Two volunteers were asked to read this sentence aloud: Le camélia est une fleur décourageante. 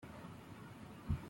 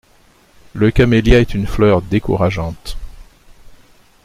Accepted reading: second